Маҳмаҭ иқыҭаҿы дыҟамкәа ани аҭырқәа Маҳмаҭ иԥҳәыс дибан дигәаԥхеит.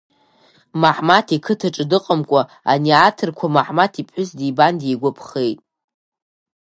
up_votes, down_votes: 3, 1